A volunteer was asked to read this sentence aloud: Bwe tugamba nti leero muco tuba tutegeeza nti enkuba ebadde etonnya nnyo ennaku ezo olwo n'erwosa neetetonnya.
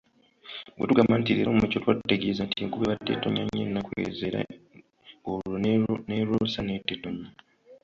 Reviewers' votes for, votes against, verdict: 0, 2, rejected